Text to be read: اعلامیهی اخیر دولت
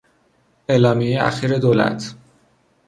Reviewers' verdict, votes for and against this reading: accepted, 2, 0